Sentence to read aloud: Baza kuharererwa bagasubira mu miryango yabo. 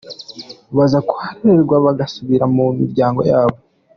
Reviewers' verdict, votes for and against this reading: accepted, 3, 1